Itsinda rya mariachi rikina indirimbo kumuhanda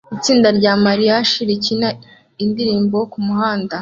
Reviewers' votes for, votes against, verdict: 2, 0, accepted